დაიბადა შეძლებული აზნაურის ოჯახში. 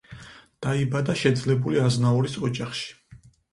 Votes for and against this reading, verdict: 4, 0, accepted